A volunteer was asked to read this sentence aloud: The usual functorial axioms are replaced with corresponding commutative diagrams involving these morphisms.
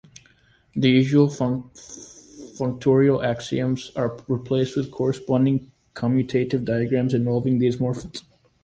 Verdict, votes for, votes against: rejected, 1, 2